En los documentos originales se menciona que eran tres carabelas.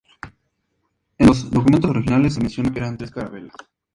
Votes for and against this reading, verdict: 0, 2, rejected